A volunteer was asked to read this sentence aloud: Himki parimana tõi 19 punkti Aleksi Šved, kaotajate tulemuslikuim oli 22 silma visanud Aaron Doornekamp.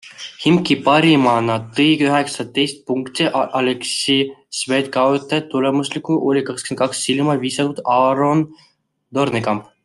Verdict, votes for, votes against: rejected, 0, 2